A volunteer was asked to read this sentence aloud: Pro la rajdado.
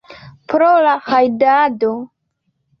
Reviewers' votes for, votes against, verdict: 2, 0, accepted